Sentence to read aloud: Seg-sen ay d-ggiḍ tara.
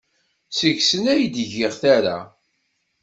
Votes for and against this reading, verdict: 1, 2, rejected